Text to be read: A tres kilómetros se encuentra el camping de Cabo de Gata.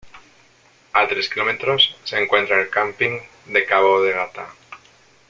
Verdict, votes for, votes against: accepted, 2, 0